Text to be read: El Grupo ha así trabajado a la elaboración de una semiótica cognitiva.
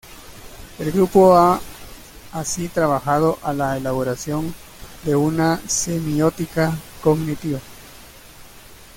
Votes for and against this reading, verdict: 2, 0, accepted